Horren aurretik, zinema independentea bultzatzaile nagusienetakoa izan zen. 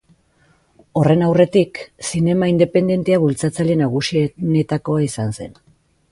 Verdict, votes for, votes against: accepted, 2, 0